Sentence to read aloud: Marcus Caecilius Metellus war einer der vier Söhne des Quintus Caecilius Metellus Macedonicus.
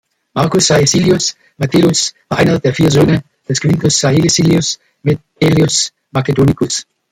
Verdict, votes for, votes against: rejected, 1, 2